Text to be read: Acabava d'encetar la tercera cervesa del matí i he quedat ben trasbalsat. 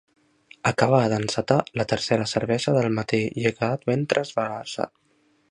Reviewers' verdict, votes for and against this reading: rejected, 1, 2